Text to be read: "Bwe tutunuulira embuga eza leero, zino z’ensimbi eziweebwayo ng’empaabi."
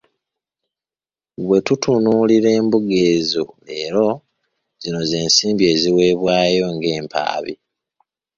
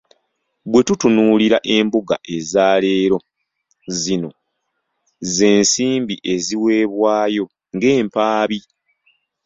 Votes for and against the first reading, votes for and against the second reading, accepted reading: 1, 2, 2, 0, second